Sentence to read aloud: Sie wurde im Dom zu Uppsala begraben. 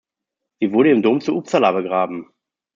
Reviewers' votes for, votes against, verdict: 2, 1, accepted